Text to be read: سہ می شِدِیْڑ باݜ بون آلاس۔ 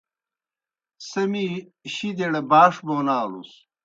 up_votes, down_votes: 2, 0